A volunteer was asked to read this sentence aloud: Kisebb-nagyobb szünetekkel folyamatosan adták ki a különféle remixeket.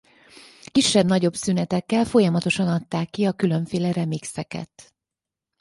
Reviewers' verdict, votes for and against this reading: accepted, 4, 0